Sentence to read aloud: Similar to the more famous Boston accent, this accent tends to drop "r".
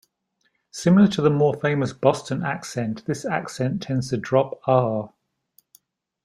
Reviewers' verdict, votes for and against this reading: accepted, 2, 0